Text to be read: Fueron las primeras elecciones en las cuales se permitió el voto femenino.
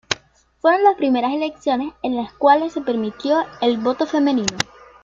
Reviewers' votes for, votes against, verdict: 1, 2, rejected